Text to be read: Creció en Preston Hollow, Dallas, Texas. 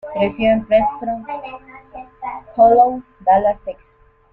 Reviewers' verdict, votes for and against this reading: rejected, 1, 2